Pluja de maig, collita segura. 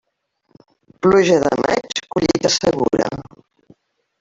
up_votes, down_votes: 0, 2